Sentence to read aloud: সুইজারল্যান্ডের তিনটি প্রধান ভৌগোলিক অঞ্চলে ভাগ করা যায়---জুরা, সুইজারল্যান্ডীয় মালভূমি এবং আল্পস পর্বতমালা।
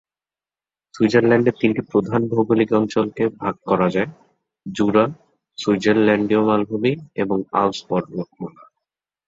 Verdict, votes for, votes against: rejected, 1, 2